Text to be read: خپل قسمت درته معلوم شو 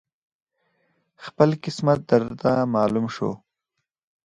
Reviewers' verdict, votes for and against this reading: accepted, 4, 0